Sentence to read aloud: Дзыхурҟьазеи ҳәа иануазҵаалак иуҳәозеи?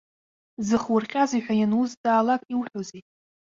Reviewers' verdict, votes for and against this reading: rejected, 0, 2